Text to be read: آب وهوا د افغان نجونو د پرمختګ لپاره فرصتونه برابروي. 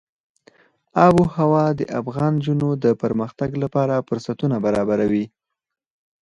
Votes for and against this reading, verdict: 4, 2, accepted